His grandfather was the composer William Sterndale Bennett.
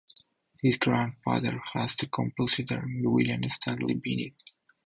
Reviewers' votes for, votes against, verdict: 2, 2, rejected